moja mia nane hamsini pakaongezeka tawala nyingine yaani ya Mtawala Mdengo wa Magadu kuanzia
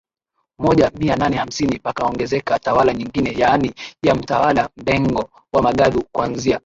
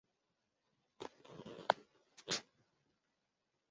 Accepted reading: first